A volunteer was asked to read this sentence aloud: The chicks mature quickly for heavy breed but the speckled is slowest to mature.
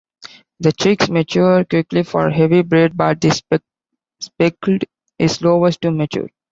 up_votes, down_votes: 0, 3